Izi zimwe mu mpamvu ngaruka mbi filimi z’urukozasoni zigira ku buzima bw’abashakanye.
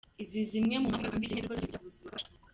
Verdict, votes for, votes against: rejected, 0, 2